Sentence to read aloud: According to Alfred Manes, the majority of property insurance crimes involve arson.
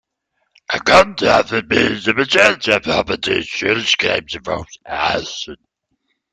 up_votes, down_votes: 0, 3